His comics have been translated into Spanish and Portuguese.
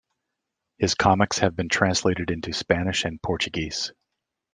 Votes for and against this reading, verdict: 2, 0, accepted